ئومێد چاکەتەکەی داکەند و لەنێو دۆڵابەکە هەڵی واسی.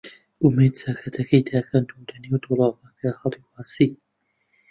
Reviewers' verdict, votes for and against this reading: accepted, 2, 1